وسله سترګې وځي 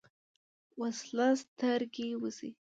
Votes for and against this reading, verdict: 2, 0, accepted